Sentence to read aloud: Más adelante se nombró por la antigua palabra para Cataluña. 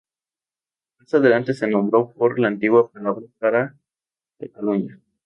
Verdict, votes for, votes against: rejected, 0, 2